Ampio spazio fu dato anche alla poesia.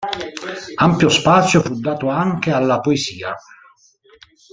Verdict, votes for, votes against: rejected, 0, 2